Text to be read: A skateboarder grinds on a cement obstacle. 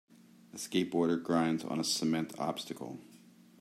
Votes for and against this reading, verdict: 2, 0, accepted